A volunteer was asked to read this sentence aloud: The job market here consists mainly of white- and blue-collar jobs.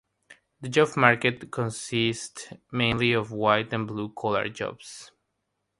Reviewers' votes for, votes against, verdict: 3, 0, accepted